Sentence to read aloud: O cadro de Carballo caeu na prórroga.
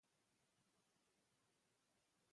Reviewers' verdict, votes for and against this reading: rejected, 0, 2